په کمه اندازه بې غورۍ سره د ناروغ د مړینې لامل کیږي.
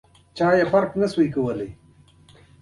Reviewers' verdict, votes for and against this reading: accepted, 2, 1